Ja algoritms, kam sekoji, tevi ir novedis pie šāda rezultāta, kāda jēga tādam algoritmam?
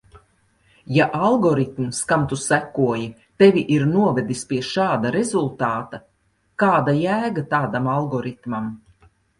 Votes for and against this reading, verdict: 0, 3, rejected